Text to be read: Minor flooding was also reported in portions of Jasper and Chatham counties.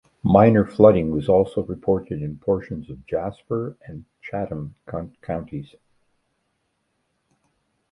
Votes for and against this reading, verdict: 0, 2, rejected